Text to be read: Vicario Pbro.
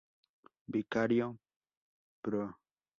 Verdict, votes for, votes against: rejected, 0, 2